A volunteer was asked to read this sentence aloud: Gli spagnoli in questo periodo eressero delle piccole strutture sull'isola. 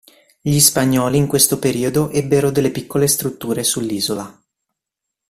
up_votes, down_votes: 1, 2